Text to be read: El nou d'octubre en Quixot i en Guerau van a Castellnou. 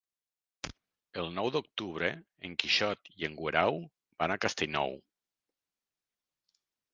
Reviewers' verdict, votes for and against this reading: rejected, 1, 2